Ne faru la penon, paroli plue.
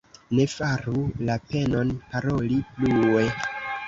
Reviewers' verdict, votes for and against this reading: rejected, 1, 2